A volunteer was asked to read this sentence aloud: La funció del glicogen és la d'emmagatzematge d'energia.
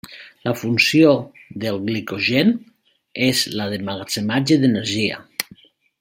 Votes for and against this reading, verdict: 0, 2, rejected